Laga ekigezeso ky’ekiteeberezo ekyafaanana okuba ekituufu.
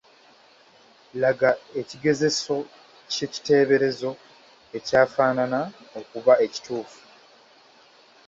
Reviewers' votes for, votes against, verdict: 0, 2, rejected